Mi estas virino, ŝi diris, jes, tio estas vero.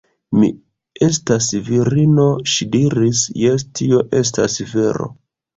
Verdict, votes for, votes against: rejected, 0, 2